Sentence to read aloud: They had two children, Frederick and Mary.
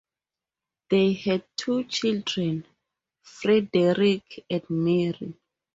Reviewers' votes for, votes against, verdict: 2, 0, accepted